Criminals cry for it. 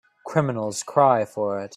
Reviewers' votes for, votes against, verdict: 2, 0, accepted